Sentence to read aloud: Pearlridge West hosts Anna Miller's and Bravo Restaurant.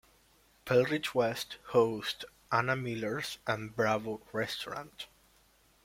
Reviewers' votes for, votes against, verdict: 2, 1, accepted